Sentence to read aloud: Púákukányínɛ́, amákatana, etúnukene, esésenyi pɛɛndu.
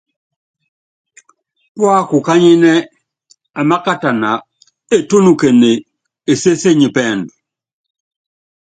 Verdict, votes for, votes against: accepted, 2, 0